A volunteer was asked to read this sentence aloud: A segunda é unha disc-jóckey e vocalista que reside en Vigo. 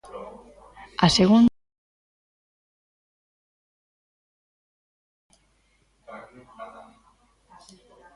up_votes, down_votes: 0, 2